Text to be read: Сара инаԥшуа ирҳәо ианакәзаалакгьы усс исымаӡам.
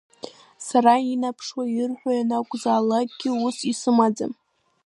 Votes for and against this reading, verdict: 1, 2, rejected